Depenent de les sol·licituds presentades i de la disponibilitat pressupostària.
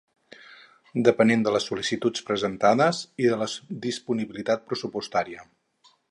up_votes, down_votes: 0, 2